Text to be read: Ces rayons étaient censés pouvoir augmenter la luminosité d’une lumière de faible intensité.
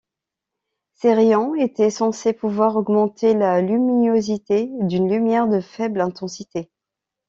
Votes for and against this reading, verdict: 0, 2, rejected